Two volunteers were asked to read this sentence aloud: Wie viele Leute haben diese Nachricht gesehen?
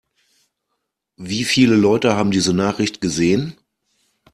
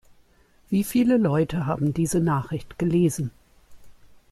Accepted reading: first